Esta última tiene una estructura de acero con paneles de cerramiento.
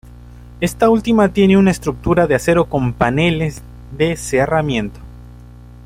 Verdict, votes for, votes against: accepted, 2, 1